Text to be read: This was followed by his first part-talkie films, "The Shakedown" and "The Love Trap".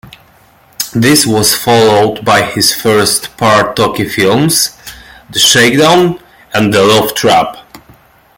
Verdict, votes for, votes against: accepted, 2, 1